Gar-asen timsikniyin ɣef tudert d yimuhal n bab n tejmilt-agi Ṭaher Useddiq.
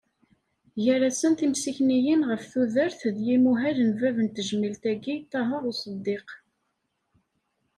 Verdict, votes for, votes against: accepted, 2, 0